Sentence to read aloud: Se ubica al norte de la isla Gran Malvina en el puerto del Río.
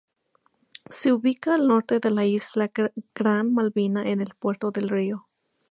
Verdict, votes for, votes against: rejected, 2, 2